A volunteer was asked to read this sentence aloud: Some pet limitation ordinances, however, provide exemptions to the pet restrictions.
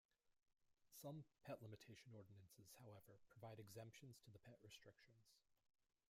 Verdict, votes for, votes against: rejected, 1, 2